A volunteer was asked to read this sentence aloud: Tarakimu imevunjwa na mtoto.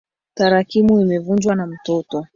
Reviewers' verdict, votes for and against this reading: rejected, 0, 2